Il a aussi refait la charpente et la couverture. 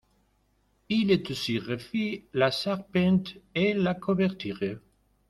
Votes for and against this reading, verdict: 0, 2, rejected